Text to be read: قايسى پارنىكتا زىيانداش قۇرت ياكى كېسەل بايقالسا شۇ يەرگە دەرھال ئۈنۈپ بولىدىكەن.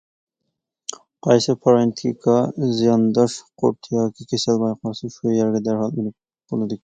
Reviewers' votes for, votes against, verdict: 0, 2, rejected